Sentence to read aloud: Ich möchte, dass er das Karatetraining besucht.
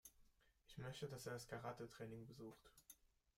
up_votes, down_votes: 2, 0